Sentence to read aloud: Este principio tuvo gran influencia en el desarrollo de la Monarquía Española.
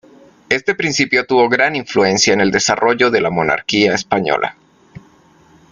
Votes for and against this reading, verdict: 2, 0, accepted